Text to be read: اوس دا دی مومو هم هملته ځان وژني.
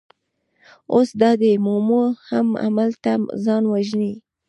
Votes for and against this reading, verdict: 1, 2, rejected